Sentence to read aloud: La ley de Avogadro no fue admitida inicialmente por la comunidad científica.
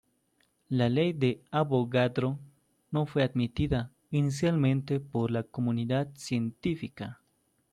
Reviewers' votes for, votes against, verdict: 2, 1, accepted